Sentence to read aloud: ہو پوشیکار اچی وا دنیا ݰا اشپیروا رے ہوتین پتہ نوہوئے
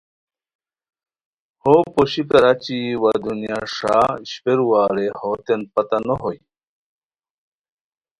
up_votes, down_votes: 2, 0